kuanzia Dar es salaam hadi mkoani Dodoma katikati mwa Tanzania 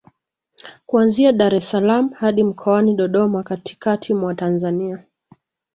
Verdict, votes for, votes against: accepted, 2, 1